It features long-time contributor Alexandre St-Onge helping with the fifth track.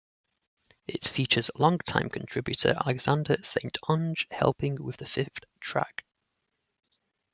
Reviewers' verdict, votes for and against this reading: rejected, 0, 2